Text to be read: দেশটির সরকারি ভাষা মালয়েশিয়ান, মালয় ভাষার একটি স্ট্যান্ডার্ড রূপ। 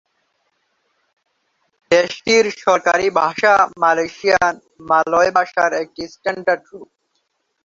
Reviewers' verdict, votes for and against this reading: rejected, 2, 2